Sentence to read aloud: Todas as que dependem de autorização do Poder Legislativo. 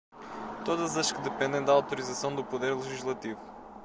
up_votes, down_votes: 0, 2